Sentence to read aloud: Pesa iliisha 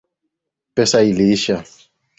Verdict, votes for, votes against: accepted, 2, 0